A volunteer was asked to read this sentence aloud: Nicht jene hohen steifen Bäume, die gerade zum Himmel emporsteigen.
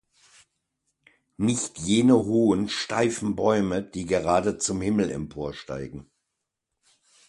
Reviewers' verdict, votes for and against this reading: accepted, 2, 0